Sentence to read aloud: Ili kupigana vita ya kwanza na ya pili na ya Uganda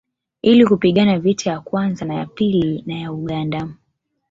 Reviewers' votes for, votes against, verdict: 2, 0, accepted